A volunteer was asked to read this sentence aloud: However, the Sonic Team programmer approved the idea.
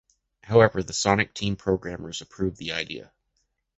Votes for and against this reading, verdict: 0, 2, rejected